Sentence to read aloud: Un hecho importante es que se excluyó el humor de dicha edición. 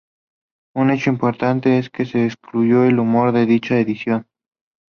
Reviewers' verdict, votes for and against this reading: accepted, 2, 0